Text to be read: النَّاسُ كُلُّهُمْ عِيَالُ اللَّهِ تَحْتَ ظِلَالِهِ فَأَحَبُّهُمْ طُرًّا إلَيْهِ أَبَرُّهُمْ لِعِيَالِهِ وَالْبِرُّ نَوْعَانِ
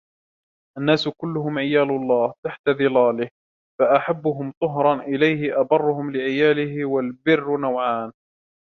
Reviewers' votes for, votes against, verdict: 1, 2, rejected